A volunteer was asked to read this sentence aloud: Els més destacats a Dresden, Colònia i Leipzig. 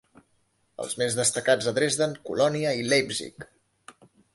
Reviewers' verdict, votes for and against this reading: accepted, 2, 0